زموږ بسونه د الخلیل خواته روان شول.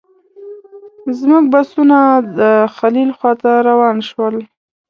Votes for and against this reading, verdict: 1, 2, rejected